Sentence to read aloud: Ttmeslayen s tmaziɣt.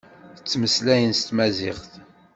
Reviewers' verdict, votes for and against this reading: accepted, 2, 0